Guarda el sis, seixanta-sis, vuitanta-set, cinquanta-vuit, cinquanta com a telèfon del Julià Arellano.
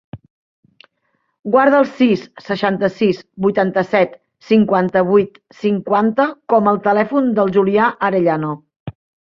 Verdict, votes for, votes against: rejected, 1, 2